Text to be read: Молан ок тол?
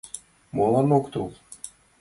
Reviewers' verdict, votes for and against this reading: accepted, 2, 0